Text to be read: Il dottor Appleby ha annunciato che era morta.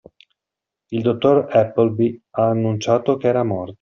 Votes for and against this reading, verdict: 0, 2, rejected